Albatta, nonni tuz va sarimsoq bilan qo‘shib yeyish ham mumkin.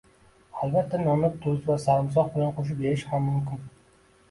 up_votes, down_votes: 2, 0